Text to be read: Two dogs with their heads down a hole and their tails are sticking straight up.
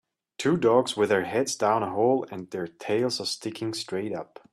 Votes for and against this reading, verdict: 2, 0, accepted